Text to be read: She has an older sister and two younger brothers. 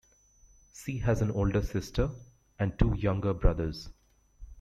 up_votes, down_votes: 2, 1